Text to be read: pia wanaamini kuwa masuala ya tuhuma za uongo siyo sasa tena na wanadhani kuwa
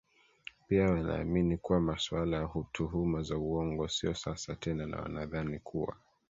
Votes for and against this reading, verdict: 1, 2, rejected